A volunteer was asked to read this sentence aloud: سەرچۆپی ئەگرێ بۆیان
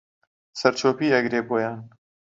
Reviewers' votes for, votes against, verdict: 2, 0, accepted